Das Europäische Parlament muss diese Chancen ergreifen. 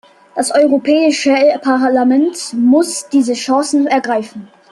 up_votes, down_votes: 1, 2